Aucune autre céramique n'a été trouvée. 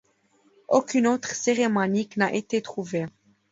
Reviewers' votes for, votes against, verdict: 1, 2, rejected